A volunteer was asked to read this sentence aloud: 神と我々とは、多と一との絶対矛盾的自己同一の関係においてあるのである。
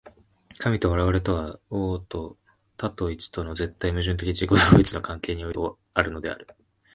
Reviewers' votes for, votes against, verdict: 0, 2, rejected